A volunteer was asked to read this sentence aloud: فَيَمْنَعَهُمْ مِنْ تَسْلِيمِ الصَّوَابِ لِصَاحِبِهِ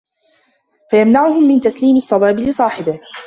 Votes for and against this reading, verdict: 2, 1, accepted